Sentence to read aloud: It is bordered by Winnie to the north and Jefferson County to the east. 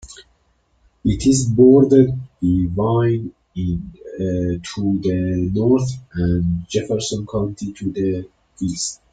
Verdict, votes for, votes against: rejected, 2, 3